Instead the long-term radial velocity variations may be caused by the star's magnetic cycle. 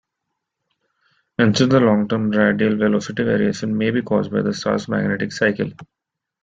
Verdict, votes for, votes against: rejected, 0, 2